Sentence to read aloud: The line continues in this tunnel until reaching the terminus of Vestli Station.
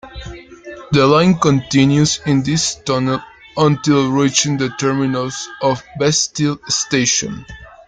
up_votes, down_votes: 0, 2